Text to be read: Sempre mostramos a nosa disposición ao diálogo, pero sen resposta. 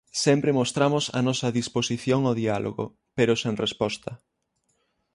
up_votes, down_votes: 6, 0